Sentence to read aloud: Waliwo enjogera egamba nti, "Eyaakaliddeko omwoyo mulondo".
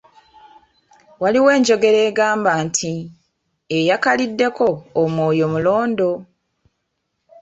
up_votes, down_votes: 1, 2